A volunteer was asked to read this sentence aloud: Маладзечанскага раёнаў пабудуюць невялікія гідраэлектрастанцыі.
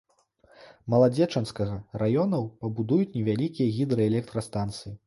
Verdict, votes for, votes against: accepted, 2, 0